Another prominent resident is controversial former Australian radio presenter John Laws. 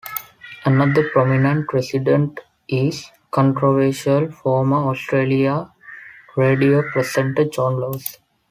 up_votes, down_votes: 0, 4